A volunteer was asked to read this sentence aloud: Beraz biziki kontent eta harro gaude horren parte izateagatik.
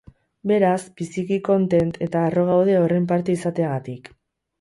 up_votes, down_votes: 2, 0